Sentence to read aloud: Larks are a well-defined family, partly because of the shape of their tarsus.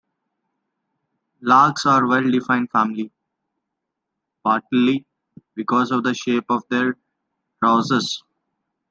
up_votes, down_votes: 2, 0